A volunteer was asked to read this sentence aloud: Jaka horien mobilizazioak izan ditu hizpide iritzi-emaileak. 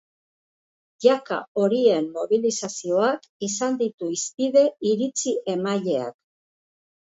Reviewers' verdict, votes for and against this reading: accepted, 3, 1